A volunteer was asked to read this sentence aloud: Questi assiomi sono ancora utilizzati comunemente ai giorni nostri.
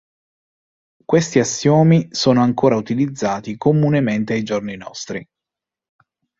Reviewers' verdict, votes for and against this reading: accepted, 2, 0